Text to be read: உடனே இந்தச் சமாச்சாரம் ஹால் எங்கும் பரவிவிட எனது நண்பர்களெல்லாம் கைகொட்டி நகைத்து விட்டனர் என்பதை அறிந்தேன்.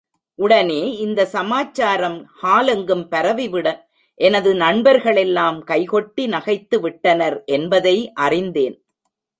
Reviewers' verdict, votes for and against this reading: rejected, 1, 2